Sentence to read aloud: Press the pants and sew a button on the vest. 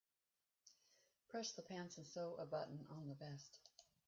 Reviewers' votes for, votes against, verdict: 1, 2, rejected